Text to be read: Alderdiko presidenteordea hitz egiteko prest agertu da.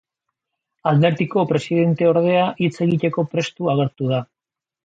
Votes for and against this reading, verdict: 1, 2, rejected